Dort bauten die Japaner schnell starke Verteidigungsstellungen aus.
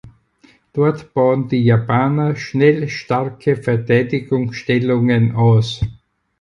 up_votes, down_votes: 2, 4